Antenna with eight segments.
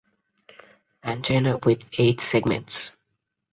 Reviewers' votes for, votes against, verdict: 4, 0, accepted